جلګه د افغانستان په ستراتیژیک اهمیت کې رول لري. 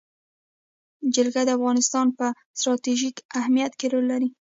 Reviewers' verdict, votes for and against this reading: rejected, 1, 2